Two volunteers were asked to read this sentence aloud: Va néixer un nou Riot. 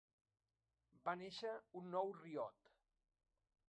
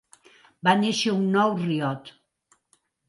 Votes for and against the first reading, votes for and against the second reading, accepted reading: 1, 2, 3, 0, second